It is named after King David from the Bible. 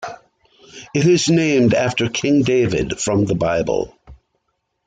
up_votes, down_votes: 2, 0